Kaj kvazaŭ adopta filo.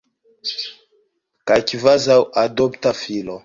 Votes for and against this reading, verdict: 2, 0, accepted